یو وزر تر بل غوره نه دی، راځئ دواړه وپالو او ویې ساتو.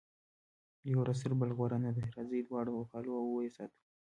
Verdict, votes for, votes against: accepted, 2, 0